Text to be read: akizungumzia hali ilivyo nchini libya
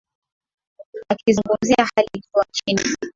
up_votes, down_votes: 0, 2